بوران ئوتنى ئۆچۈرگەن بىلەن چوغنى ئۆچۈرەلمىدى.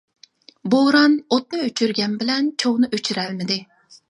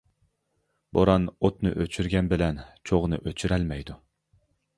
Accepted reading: first